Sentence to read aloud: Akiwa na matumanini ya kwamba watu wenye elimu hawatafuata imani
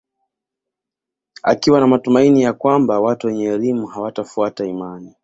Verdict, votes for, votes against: rejected, 0, 2